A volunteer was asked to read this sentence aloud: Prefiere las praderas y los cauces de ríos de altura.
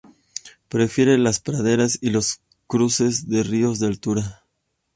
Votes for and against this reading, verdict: 0, 2, rejected